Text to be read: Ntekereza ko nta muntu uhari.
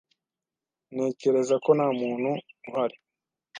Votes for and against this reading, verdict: 2, 0, accepted